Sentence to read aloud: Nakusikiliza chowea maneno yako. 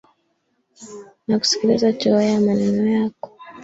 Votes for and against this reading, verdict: 1, 2, rejected